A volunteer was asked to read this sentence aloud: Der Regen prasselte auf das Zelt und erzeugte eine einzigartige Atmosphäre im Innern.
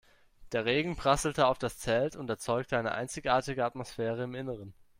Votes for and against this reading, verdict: 1, 3, rejected